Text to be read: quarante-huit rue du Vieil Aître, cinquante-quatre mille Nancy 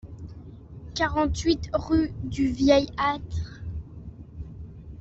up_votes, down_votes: 0, 2